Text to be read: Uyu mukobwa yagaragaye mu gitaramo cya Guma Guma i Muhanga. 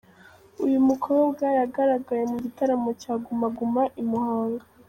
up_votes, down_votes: 2, 0